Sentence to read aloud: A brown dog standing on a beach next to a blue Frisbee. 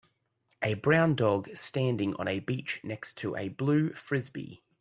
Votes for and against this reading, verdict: 3, 0, accepted